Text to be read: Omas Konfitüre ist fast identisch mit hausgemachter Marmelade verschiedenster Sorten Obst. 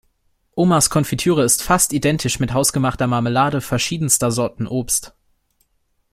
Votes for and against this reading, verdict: 2, 0, accepted